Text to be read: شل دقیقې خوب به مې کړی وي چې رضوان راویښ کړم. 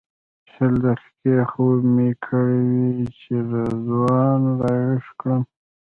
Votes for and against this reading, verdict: 1, 2, rejected